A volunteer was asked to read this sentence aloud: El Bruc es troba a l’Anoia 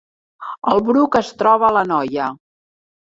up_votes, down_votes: 2, 0